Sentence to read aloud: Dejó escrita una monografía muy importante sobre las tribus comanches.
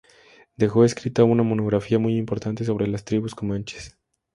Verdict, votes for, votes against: rejected, 2, 2